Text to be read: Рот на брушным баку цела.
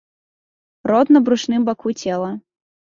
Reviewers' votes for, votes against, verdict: 2, 0, accepted